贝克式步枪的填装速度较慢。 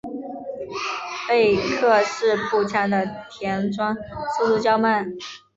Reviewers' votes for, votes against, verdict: 2, 0, accepted